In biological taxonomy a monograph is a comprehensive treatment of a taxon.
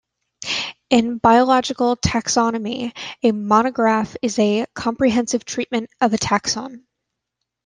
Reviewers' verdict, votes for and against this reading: accepted, 2, 0